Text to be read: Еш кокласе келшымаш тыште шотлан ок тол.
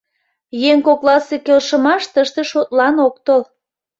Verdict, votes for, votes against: rejected, 0, 2